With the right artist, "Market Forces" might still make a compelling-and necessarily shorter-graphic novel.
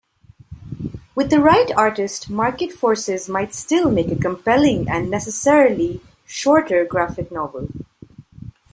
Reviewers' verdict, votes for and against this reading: accepted, 2, 0